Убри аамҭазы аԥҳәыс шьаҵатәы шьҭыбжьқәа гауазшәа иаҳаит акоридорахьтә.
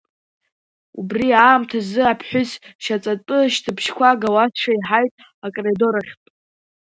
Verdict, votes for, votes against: rejected, 1, 2